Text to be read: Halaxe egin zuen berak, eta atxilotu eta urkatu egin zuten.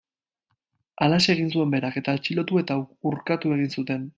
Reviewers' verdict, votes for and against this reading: rejected, 0, 2